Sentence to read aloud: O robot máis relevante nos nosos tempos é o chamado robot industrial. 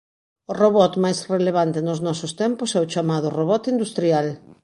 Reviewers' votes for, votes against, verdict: 2, 0, accepted